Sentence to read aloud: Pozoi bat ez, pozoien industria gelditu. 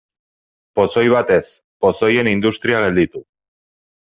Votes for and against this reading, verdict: 2, 0, accepted